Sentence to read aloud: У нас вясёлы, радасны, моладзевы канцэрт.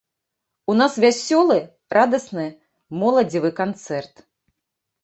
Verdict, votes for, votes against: accepted, 2, 0